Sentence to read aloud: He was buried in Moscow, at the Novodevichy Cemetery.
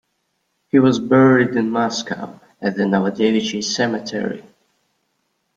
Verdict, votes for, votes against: accepted, 2, 0